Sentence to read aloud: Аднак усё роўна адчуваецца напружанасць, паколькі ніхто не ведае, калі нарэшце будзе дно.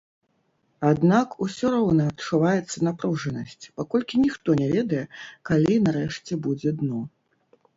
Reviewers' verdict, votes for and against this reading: rejected, 1, 2